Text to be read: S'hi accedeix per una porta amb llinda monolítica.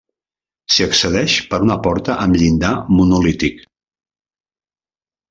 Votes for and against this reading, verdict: 0, 2, rejected